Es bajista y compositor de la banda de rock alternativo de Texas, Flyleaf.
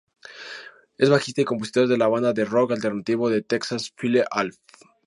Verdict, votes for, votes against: rejected, 0, 4